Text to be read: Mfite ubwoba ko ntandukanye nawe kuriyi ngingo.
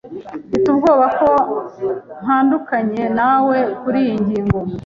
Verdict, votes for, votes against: accepted, 2, 0